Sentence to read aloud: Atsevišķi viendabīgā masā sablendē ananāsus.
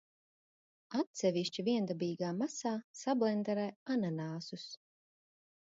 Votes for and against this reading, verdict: 0, 2, rejected